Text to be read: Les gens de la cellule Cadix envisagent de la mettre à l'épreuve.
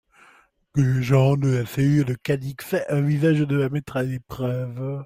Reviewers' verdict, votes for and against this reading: accepted, 2, 0